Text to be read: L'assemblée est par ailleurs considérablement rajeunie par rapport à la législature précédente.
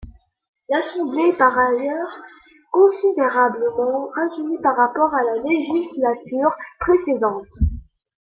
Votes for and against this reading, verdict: 2, 0, accepted